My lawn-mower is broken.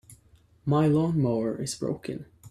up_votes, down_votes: 2, 0